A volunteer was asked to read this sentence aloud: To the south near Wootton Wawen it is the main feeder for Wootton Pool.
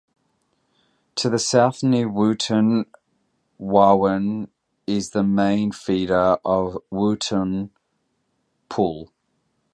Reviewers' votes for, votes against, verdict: 0, 2, rejected